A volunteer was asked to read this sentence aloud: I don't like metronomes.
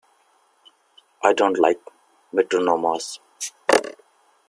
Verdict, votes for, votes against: accepted, 2, 1